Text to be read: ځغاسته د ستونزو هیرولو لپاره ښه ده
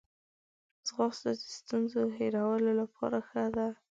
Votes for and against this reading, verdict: 0, 2, rejected